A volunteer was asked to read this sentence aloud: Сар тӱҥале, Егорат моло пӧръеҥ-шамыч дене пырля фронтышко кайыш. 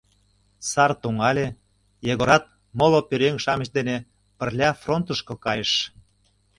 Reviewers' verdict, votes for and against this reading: rejected, 0, 2